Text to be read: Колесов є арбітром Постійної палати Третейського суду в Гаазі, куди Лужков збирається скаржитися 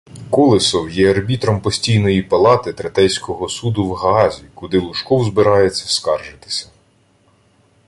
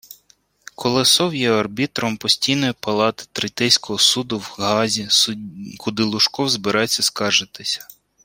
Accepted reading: first